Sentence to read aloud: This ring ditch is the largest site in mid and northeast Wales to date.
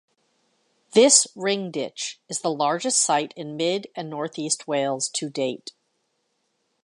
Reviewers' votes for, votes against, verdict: 2, 0, accepted